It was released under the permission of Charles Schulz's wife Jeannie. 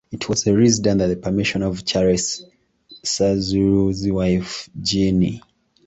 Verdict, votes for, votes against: rejected, 1, 2